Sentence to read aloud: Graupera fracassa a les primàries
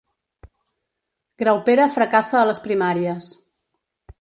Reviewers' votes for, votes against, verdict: 1, 2, rejected